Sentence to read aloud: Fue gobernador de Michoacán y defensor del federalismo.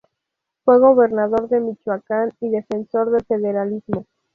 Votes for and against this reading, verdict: 2, 0, accepted